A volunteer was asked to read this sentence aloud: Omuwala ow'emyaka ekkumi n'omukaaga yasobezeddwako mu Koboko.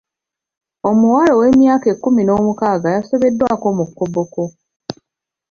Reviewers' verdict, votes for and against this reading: accepted, 2, 0